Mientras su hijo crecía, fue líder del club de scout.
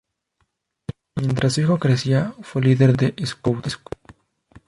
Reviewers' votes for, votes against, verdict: 0, 2, rejected